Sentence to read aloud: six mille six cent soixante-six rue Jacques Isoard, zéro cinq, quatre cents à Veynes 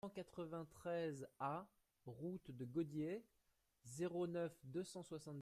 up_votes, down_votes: 0, 2